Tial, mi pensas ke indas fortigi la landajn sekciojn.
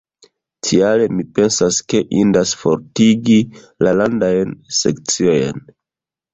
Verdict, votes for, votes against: rejected, 0, 2